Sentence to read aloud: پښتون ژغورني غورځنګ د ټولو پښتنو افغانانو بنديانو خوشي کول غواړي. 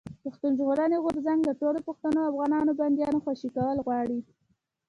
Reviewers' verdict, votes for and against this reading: rejected, 1, 2